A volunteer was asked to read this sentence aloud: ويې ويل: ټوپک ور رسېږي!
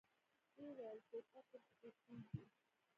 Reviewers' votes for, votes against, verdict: 0, 2, rejected